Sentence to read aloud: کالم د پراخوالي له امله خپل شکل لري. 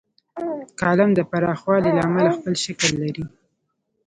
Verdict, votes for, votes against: accepted, 2, 0